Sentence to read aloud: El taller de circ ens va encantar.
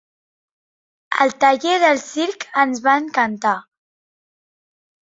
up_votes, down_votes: 1, 2